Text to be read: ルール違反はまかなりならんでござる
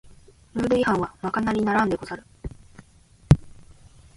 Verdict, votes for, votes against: accepted, 2, 0